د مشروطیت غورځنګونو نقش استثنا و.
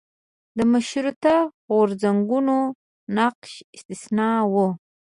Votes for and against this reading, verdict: 1, 2, rejected